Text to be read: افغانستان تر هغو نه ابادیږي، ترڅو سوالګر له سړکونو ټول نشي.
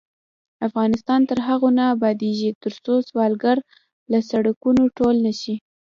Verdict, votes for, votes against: accepted, 2, 0